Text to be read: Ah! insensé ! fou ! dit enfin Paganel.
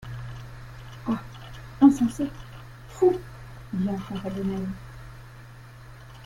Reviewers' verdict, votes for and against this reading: accepted, 2, 1